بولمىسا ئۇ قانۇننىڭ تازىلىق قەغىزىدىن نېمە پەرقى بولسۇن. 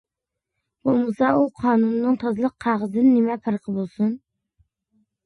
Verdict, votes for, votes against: accepted, 2, 0